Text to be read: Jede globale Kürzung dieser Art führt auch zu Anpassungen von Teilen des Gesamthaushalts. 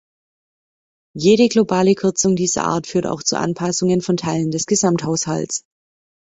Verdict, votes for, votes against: accepted, 3, 0